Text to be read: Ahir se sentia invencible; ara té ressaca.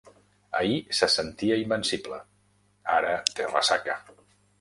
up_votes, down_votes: 3, 0